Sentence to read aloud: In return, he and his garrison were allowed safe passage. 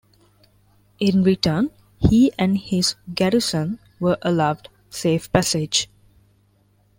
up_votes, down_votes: 2, 0